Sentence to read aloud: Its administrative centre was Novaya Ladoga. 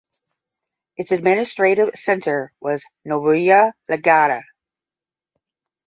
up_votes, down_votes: 5, 10